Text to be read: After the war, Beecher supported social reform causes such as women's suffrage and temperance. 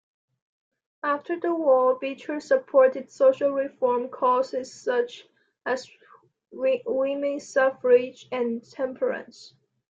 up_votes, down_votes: 0, 2